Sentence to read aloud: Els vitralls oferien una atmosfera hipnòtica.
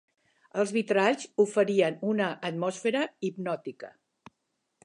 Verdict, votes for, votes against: rejected, 1, 2